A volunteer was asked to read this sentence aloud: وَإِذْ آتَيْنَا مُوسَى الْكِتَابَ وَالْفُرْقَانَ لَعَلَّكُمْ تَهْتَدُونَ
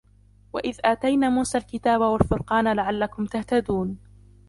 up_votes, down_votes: 0, 2